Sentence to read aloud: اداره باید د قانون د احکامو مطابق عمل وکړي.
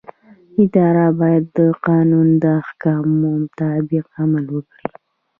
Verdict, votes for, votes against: accepted, 2, 0